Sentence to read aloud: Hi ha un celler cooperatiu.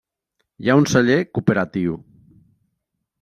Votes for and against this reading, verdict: 3, 0, accepted